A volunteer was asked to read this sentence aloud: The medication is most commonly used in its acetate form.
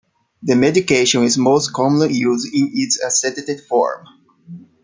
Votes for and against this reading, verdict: 1, 2, rejected